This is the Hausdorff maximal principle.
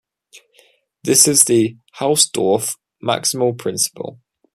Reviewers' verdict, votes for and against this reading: accepted, 2, 0